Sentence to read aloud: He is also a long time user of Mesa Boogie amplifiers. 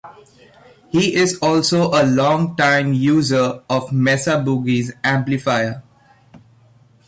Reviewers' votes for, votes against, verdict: 0, 2, rejected